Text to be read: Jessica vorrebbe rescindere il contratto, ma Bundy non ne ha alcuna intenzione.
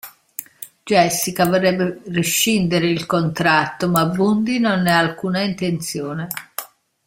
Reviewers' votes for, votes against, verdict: 0, 2, rejected